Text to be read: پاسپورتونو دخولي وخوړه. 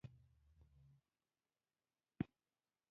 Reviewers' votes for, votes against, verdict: 0, 2, rejected